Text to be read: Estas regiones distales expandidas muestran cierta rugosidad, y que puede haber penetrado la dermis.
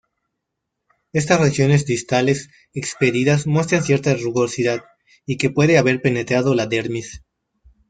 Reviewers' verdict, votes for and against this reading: rejected, 1, 2